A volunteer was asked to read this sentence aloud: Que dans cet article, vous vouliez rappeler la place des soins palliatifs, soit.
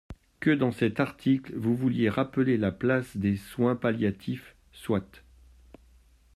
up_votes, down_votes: 2, 0